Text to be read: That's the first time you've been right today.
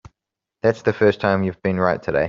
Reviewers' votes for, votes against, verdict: 2, 1, accepted